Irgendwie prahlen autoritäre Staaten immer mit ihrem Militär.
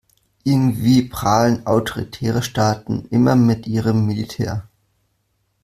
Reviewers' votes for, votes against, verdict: 1, 2, rejected